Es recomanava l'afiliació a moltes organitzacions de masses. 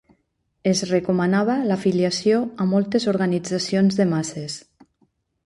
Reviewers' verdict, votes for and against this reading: accepted, 3, 0